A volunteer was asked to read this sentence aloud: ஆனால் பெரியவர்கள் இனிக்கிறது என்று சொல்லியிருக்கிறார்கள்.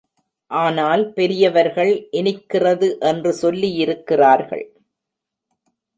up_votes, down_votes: 2, 0